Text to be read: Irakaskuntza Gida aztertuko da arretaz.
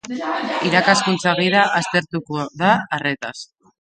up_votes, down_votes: 2, 0